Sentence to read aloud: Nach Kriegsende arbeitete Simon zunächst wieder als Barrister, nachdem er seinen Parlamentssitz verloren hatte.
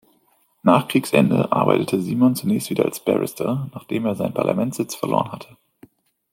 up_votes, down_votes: 2, 0